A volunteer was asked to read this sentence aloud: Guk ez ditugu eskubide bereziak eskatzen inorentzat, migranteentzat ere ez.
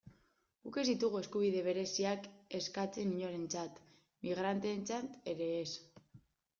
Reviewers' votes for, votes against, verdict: 2, 0, accepted